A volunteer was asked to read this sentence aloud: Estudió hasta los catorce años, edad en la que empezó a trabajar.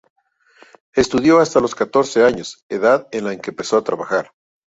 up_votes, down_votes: 2, 0